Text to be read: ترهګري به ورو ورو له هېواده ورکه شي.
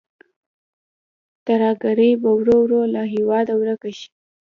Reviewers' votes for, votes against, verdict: 2, 0, accepted